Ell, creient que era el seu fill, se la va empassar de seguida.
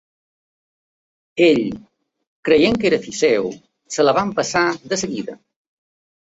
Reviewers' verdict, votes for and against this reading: rejected, 0, 2